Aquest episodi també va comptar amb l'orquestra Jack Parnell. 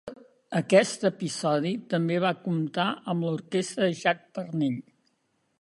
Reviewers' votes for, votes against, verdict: 2, 0, accepted